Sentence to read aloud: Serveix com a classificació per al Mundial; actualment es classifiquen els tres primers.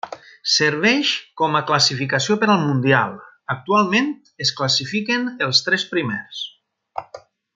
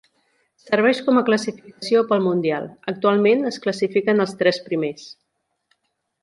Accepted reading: first